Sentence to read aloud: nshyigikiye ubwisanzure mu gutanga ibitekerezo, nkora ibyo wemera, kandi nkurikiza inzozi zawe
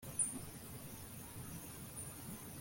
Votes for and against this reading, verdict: 1, 2, rejected